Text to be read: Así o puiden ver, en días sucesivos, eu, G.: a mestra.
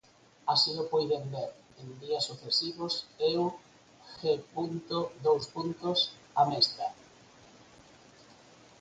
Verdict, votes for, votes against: rejected, 2, 4